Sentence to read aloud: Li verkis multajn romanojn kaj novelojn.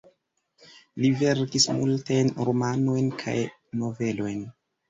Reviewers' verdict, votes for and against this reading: rejected, 1, 2